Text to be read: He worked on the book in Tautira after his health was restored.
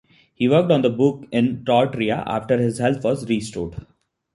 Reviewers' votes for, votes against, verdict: 2, 0, accepted